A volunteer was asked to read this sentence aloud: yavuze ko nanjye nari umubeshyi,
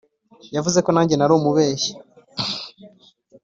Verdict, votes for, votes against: accepted, 5, 0